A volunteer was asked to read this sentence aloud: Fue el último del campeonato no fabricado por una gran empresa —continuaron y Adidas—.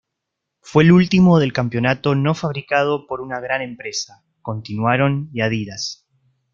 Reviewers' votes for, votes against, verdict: 0, 2, rejected